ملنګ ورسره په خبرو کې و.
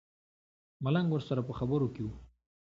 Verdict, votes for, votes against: accepted, 2, 1